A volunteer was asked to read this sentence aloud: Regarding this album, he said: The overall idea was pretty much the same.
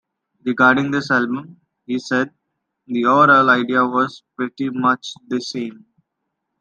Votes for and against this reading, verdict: 2, 0, accepted